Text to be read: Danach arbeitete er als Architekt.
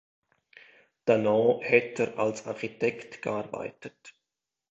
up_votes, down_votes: 0, 2